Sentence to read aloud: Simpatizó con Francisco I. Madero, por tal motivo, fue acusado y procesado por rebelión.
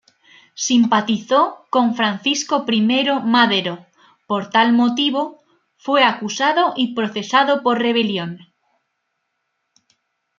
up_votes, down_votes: 2, 0